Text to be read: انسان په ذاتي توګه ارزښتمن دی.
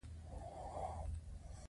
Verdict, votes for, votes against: accepted, 2, 0